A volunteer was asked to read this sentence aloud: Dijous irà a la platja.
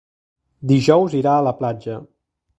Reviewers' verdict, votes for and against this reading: accepted, 3, 0